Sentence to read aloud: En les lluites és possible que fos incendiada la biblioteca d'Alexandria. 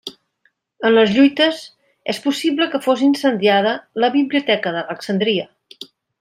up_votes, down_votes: 2, 0